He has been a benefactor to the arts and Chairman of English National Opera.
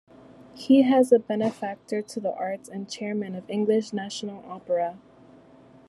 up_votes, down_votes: 2, 0